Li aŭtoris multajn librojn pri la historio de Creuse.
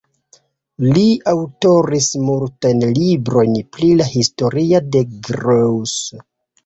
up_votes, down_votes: 1, 2